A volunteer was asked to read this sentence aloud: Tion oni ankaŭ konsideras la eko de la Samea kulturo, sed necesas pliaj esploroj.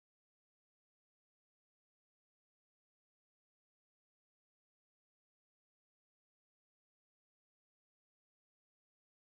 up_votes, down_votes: 1, 2